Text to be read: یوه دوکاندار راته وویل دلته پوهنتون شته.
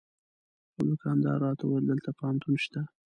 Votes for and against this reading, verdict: 1, 2, rejected